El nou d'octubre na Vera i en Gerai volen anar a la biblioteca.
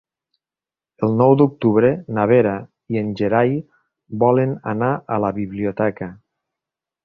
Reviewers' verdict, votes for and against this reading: accepted, 3, 0